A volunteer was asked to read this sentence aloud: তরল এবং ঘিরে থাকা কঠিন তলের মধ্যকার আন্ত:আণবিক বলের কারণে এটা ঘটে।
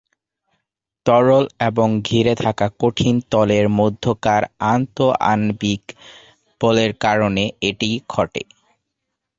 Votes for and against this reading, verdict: 0, 2, rejected